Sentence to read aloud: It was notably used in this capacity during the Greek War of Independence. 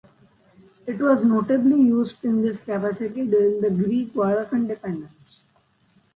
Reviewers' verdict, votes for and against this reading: rejected, 0, 2